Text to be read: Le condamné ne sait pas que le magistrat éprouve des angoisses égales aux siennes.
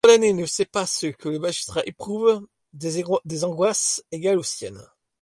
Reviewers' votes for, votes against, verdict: 2, 1, accepted